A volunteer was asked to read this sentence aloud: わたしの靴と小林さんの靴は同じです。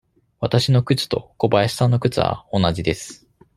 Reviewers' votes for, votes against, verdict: 2, 0, accepted